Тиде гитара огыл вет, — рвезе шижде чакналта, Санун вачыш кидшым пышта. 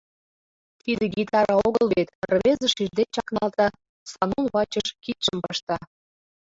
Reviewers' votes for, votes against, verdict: 1, 2, rejected